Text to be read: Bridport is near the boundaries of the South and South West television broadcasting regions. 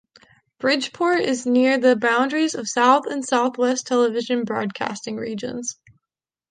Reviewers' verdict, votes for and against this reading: rejected, 0, 2